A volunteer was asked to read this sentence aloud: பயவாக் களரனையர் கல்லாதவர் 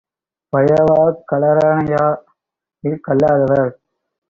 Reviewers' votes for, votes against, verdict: 1, 2, rejected